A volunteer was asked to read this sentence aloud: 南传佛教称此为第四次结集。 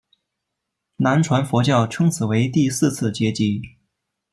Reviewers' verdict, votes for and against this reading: rejected, 0, 2